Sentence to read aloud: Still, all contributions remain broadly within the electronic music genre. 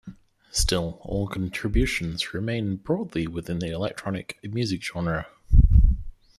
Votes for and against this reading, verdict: 2, 0, accepted